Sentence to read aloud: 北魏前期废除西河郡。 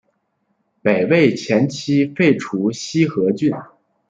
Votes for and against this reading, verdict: 2, 0, accepted